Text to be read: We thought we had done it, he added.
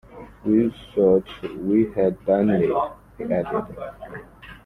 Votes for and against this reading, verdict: 2, 0, accepted